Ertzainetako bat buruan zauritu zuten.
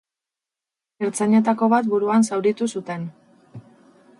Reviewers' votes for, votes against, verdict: 2, 0, accepted